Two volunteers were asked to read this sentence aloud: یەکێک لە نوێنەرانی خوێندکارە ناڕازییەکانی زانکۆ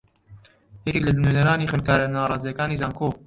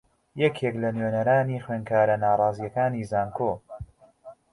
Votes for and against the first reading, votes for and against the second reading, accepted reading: 1, 2, 2, 0, second